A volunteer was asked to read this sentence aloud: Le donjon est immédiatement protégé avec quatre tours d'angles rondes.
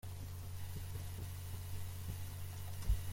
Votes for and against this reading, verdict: 0, 2, rejected